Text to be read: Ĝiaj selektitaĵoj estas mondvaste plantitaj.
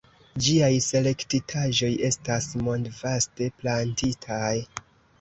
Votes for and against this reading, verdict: 2, 0, accepted